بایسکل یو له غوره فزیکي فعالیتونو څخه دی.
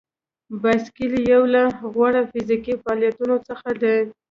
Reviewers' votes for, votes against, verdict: 2, 0, accepted